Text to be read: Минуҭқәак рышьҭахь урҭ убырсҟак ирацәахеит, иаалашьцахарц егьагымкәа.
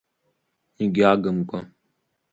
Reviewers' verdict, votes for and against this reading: rejected, 1, 3